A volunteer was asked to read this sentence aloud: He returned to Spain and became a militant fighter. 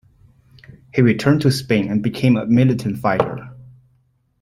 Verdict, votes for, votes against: accepted, 2, 0